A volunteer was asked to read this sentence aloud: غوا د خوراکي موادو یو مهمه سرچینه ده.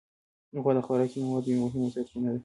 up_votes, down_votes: 0, 2